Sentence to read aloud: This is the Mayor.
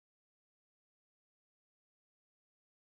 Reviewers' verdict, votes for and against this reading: rejected, 0, 2